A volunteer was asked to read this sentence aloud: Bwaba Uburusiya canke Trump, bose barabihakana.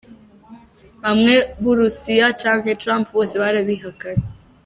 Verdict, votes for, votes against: rejected, 0, 2